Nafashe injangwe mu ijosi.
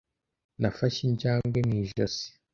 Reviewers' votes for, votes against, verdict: 2, 0, accepted